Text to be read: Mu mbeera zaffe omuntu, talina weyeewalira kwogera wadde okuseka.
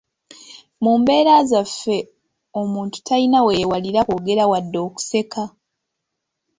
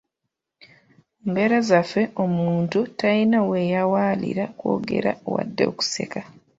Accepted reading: first